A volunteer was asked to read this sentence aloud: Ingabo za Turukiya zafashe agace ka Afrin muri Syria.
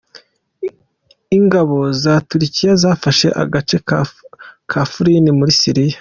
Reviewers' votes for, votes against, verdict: 1, 2, rejected